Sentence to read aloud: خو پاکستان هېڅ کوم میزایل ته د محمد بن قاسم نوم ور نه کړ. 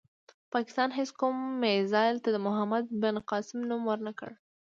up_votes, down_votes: 2, 0